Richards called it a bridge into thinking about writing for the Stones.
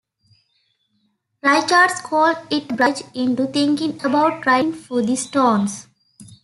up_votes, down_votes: 0, 2